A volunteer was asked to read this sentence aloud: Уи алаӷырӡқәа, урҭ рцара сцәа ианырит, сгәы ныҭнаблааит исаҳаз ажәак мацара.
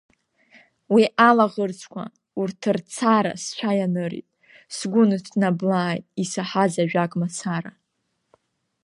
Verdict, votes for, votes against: accepted, 2, 0